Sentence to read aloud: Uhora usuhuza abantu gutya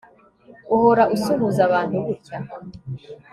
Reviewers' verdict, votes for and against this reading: rejected, 1, 2